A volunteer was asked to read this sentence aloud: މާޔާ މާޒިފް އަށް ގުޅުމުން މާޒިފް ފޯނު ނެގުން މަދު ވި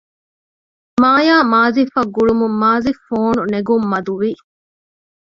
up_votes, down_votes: 1, 2